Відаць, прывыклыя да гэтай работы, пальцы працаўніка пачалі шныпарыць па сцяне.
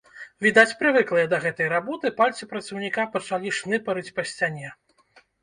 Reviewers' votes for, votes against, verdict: 2, 0, accepted